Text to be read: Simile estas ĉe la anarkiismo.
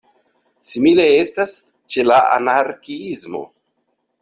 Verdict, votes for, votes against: accepted, 2, 0